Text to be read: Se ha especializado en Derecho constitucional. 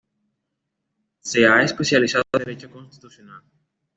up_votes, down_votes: 2, 0